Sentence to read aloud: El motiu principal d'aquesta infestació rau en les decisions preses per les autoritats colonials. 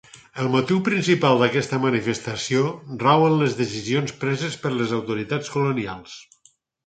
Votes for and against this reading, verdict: 2, 4, rejected